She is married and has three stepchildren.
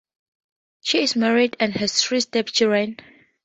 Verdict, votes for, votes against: accepted, 4, 0